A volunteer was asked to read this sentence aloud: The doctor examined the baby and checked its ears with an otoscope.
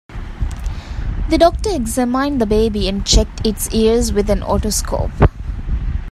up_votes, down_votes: 0, 2